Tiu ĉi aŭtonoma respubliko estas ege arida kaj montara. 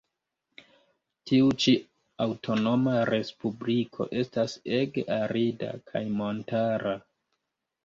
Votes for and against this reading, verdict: 0, 2, rejected